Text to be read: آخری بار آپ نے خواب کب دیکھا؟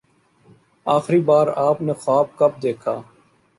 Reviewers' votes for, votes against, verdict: 2, 0, accepted